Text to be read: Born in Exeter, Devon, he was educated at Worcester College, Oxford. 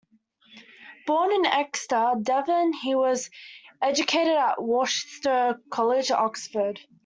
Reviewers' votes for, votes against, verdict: 2, 0, accepted